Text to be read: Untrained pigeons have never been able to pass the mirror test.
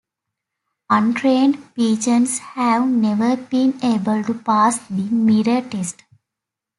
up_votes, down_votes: 2, 0